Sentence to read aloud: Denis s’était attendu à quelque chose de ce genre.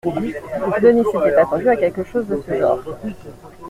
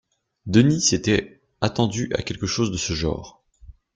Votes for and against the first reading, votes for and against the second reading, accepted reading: 1, 2, 2, 1, second